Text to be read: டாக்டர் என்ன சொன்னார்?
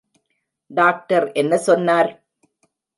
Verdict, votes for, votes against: accepted, 2, 0